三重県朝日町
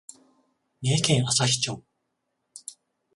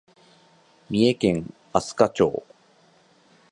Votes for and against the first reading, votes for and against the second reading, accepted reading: 14, 7, 1, 2, first